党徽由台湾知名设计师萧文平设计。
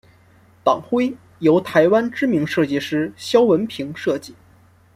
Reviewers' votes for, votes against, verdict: 2, 0, accepted